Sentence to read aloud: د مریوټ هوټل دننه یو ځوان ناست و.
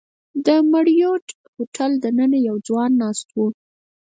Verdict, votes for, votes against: rejected, 2, 4